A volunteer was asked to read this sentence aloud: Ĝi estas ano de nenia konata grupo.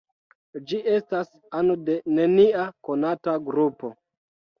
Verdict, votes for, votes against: rejected, 1, 2